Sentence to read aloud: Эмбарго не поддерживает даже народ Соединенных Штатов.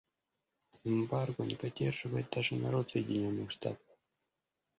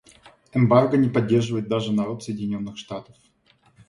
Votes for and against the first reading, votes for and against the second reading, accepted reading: 1, 2, 2, 0, second